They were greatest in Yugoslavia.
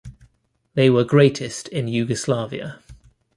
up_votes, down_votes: 2, 0